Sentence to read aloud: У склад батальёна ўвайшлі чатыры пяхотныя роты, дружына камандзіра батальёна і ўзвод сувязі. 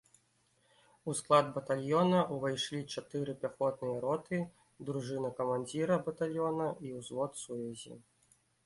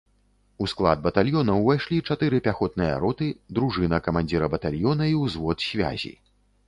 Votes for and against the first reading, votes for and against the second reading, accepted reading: 2, 0, 1, 2, first